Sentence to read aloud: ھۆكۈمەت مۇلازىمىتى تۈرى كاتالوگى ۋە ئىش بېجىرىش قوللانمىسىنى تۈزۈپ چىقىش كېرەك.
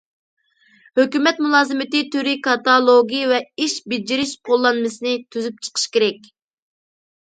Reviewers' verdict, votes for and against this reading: accepted, 2, 0